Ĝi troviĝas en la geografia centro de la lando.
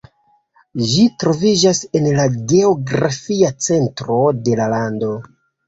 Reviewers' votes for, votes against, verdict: 2, 1, accepted